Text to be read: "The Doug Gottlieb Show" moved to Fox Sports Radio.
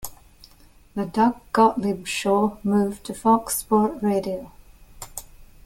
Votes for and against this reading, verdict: 1, 2, rejected